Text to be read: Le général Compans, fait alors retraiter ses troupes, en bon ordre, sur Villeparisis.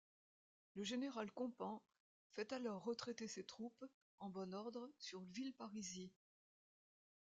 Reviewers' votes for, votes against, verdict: 2, 1, accepted